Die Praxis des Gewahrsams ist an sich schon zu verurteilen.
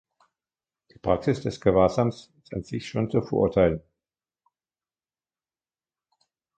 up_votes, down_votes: 3, 2